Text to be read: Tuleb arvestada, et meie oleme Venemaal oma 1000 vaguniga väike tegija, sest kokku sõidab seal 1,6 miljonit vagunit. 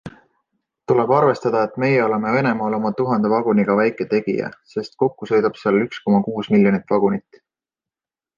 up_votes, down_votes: 0, 2